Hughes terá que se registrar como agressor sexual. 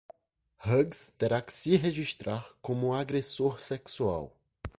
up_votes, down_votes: 2, 0